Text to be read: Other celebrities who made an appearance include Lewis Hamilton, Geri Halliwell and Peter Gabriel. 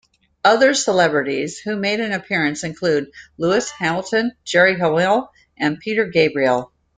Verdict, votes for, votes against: accepted, 2, 0